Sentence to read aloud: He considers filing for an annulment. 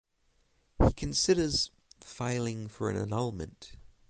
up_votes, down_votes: 6, 0